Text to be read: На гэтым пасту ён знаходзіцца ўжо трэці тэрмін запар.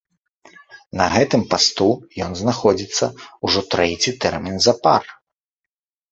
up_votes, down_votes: 2, 1